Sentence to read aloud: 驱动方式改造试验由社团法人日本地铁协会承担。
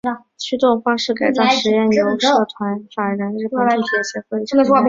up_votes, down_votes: 6, 0